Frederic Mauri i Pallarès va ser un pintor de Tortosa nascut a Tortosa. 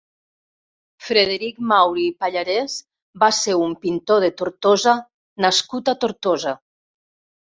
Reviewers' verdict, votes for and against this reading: accepted, 2, 0